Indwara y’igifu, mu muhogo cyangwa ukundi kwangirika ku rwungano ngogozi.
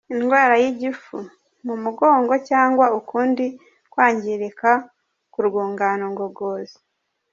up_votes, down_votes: 1, 2